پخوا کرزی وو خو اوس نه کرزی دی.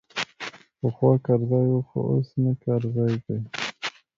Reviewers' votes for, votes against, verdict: 2, 0, accepted